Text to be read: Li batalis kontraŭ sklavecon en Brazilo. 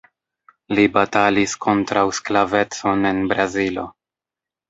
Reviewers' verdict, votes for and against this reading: rejected, 0, 2